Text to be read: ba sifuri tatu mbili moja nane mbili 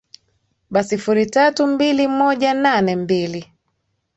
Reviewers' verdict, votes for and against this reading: accepted, 2, 1